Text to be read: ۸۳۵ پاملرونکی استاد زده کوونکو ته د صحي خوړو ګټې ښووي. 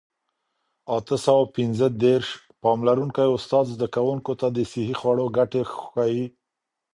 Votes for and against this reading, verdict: 0, 2, rejected